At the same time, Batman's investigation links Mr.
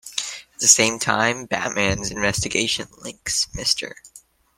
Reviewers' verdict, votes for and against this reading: accepted, 2, 1